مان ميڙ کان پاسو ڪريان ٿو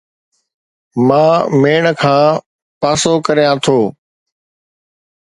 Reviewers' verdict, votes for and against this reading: accepted, 2, 0